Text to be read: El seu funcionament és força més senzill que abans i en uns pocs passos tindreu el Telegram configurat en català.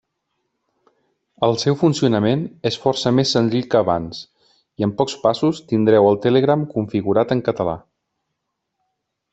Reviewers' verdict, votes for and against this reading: rejected, 1, 2